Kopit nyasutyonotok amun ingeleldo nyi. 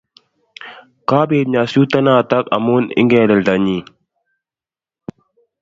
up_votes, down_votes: 2, 0